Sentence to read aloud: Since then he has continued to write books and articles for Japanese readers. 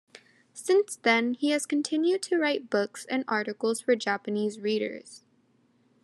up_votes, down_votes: 2, 0